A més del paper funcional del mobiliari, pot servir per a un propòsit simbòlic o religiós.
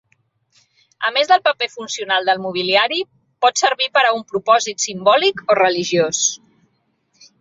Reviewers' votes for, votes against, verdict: 3, 1, accepted